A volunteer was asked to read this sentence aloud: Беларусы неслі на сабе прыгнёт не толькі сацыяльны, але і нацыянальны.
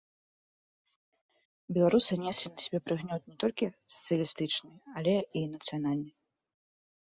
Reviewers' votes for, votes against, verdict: 2, 1, accepted